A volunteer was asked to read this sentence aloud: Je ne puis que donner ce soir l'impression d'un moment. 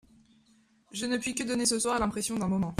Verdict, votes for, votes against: accepted, 2, 0